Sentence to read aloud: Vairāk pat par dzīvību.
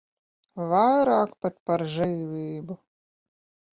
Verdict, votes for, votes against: rejected, 0, 2